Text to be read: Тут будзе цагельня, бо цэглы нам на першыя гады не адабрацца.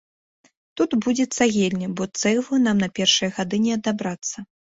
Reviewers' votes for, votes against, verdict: 2, 0, accepted